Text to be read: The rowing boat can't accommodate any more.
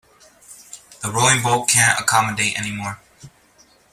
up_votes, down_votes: 2, 0